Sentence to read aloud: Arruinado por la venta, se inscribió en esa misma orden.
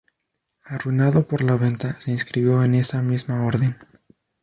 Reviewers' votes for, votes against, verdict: 2, 2, rejected